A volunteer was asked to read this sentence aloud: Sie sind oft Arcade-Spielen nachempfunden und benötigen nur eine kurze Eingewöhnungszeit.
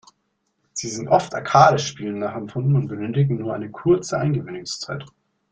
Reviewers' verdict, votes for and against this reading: accepted, 2, 0